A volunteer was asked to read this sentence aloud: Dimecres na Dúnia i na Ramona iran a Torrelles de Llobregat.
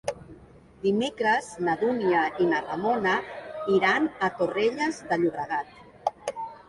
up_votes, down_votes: 3, 0